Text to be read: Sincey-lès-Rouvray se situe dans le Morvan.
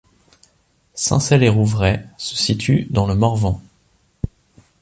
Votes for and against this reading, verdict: 3, 1, accepted